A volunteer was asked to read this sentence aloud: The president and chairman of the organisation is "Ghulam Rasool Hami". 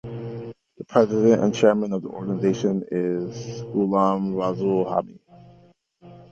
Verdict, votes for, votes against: accepted, 2, 0